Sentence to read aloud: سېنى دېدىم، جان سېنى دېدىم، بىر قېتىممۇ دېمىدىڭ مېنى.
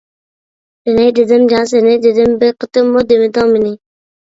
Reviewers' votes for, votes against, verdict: 1, 2, rejected